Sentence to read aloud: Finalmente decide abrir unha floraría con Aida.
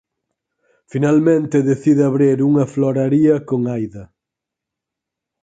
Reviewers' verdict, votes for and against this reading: accepted, 4, 0